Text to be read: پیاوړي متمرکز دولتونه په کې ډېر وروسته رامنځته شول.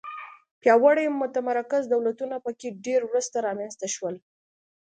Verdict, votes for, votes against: accepted, 2, 0